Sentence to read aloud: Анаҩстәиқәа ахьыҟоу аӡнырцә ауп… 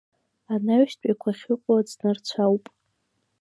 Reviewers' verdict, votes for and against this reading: accepted, 3, 0